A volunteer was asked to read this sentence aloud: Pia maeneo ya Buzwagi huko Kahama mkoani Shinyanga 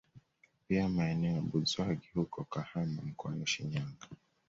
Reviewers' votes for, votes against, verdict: 2, 1, accepted